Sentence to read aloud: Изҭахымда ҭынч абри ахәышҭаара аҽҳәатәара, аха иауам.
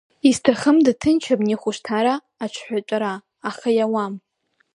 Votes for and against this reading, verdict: 1, 2, rejected